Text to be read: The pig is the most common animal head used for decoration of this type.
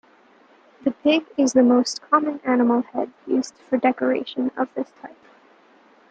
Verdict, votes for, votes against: accepted, 2, 1